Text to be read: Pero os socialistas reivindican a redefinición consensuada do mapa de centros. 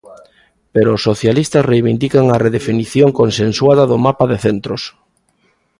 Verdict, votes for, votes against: accepted, 2, 0